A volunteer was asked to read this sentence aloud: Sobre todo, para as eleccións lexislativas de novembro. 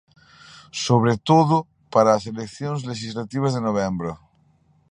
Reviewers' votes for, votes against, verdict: 2, 0, accepted